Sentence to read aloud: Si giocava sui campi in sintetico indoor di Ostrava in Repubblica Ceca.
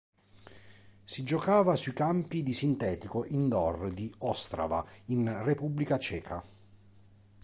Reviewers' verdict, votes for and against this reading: accepted, 2, 1